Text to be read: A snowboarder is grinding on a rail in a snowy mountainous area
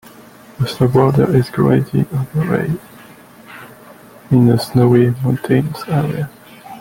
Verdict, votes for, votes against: rejected, 1, 2